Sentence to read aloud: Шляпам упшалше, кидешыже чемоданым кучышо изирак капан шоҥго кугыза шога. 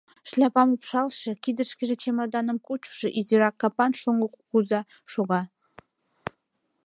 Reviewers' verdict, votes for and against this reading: rejected, 1, 2